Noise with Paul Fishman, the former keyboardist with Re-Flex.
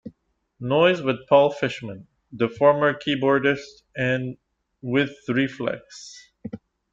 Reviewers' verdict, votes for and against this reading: accepted, 2, 0